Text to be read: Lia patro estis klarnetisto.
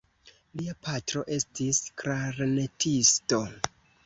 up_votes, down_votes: 1, 2